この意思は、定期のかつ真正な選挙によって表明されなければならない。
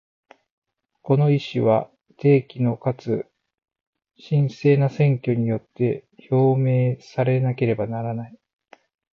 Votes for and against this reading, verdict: 4, 0, accepted